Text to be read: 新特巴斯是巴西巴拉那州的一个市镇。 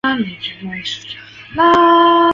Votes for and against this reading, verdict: 0, 2, rejected